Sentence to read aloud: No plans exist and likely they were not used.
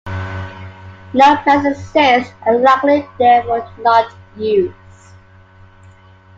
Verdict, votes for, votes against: rejected, 1, 2